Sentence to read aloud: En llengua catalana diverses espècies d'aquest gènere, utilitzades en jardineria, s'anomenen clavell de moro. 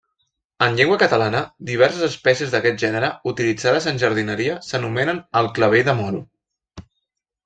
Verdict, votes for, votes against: accepted, 2, 0